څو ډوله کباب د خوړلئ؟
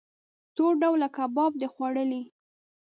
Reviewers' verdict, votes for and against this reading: rejected, 1, 2